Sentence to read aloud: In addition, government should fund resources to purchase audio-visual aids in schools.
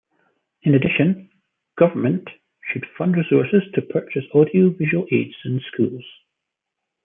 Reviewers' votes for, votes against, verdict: 2, 0, accepted